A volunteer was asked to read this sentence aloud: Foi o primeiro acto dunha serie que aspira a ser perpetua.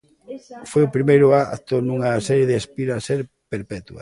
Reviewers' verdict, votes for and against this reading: rejected, 0, 2